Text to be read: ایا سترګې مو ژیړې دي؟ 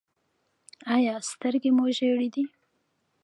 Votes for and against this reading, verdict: 0, 2, rejected